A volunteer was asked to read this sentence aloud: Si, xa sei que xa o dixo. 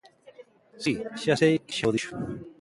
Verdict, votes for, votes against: accepted, 2, 0